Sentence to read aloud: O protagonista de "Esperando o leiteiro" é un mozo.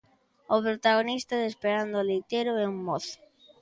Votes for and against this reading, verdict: 1, 2, rejected